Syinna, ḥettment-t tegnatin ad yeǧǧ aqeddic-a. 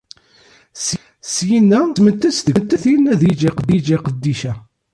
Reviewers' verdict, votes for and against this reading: rejected, 0, 2